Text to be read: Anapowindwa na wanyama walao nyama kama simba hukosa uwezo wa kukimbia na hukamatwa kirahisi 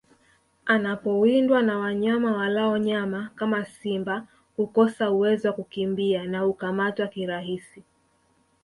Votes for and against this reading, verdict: 2, 0, accepted